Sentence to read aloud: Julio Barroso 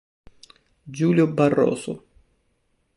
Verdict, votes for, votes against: accepted, 2, 0